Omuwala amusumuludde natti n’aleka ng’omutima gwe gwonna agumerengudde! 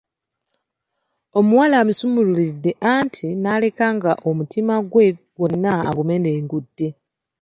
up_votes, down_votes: 0, 2